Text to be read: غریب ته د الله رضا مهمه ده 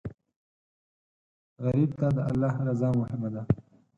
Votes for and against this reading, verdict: 4, 2, accepted